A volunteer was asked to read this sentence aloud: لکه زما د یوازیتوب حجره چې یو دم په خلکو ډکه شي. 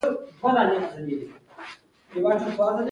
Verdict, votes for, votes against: rejected, 0, 2